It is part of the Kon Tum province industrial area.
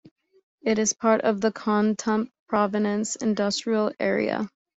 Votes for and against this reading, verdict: 2, 1, accepted